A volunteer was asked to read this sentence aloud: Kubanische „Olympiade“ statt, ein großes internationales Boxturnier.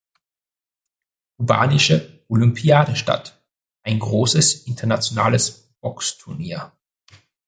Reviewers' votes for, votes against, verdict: 0, 2, rejected